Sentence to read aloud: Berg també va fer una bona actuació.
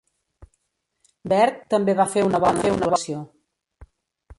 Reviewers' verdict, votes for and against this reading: rejected, 0, 2